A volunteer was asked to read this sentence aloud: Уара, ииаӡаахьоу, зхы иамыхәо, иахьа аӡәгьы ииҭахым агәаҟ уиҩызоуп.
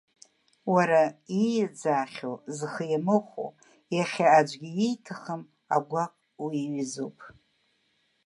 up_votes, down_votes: 2, 0